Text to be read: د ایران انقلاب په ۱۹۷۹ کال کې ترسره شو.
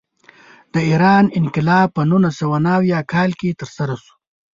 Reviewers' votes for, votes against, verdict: 0, 2, rejected